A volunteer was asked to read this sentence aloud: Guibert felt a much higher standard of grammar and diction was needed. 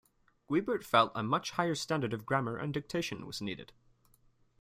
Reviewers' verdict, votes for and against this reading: rejected, 1, 3